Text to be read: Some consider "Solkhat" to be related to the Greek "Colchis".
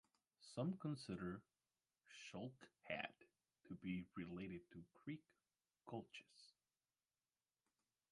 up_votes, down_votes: 1, 2